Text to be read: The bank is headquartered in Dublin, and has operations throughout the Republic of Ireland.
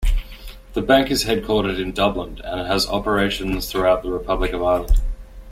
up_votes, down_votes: 2, 0